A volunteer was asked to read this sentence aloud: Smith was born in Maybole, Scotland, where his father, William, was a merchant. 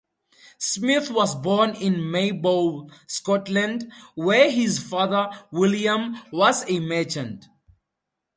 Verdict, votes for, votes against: accepted, 4, 0